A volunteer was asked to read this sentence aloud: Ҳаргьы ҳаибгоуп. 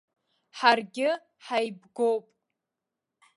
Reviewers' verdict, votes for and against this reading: accepted, 2, 1